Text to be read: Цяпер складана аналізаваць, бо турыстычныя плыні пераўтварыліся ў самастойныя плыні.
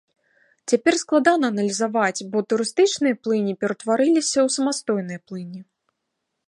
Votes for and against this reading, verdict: 2, 0, accepted